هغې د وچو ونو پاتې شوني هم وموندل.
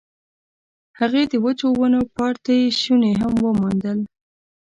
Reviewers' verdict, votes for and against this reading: rejected, 0, 2